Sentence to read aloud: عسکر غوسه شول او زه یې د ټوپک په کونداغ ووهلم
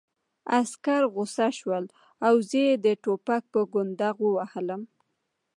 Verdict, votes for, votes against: rejected, 1, 2